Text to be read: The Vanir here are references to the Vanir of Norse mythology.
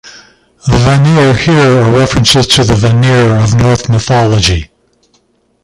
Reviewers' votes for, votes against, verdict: 0, 2, rejected